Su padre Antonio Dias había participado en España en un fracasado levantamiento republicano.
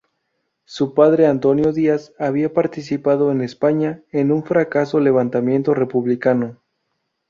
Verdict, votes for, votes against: rejected, 0, 2